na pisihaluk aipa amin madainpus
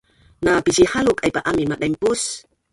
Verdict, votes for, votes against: rejected, 1, 2